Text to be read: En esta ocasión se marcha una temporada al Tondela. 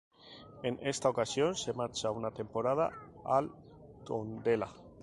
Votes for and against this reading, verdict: 2, 0, accepted